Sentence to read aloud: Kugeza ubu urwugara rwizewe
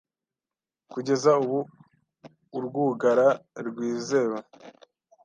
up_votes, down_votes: 2, 0